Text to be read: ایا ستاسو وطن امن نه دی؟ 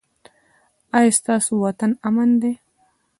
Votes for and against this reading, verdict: 2, 0, accepted